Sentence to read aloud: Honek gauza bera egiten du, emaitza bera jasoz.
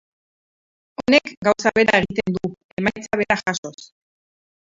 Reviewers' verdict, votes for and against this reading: rejected, 0, 2